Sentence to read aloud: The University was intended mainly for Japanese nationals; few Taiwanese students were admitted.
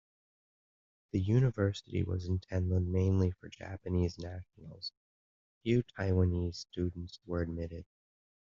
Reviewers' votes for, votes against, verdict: 2, 0, accepted